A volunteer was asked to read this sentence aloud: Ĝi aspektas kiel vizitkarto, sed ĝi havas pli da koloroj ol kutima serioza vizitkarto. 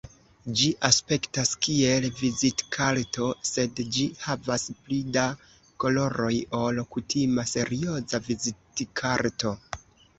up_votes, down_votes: 2, 0